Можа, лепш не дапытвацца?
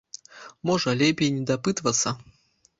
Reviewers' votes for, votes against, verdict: 0, 2, rejected